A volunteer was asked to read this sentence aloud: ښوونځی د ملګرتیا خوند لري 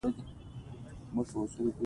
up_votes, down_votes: 2, 0